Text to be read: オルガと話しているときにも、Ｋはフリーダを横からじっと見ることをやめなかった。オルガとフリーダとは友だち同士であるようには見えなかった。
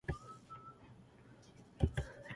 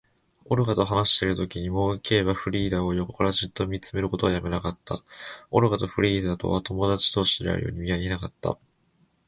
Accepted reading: second